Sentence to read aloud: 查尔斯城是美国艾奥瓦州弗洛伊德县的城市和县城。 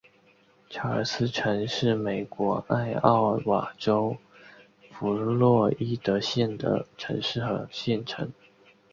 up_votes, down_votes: 7, 1